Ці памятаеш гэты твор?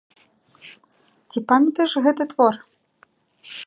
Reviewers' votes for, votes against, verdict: 2, 0, accepted